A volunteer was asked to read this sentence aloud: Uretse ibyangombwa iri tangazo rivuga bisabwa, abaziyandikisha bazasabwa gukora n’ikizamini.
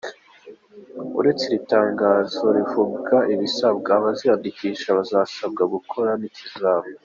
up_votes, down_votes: 0, 2